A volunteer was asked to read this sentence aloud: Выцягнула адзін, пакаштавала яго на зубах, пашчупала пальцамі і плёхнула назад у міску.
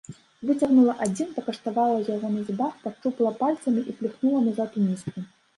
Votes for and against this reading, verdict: 1, 2, rejected